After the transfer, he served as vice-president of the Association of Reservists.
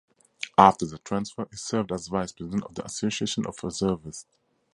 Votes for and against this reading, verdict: 4, 0, accepted